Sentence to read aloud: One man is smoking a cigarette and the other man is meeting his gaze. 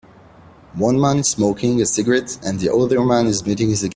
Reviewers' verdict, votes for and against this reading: rejected, 0, 2